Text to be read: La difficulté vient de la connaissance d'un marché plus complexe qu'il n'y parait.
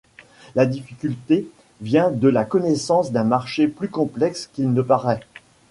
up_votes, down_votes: 1, 2